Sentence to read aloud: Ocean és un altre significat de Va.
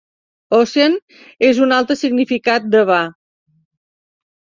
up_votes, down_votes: 2, 0